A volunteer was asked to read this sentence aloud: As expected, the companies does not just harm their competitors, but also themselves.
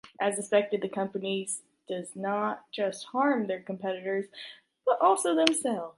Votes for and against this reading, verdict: 2, 1, accepted